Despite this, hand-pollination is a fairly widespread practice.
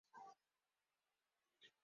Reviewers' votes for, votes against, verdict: 0, 2, rejected